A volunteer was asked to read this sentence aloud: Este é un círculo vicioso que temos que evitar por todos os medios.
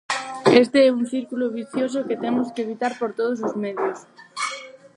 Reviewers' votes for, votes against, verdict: 2, 2, rejected